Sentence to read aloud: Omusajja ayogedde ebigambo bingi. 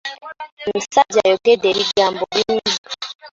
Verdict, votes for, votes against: rejected, 1, 2